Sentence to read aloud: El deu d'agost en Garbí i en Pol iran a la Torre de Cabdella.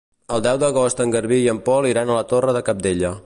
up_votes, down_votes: 2, 0